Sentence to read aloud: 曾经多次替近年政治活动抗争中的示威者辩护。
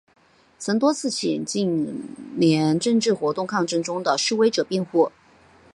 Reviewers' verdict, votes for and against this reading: accepted, 5, 2